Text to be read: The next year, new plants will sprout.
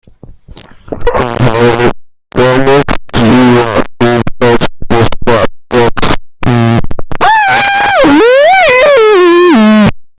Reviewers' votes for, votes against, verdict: 0, 2, rejected